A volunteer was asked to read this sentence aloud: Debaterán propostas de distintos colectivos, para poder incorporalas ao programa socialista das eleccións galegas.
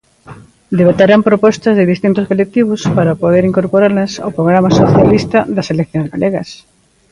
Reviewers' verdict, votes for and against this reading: accepted, 2, 1